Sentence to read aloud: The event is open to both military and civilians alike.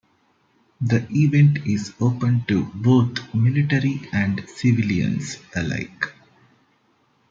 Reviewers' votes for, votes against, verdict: 2, 0, accepted